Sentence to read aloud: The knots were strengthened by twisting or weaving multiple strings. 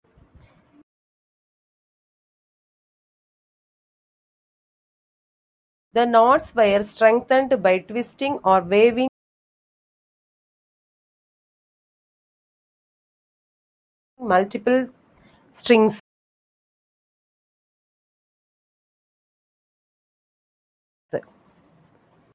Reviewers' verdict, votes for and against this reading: rejected, 0, 2